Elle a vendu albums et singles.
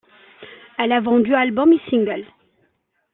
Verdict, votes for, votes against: accepted, 2, 0